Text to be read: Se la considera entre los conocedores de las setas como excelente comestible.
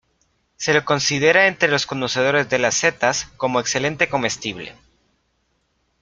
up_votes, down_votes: 2, 0